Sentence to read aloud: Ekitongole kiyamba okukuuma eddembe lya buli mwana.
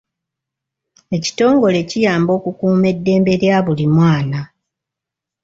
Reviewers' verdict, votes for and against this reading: accepted, 2, 1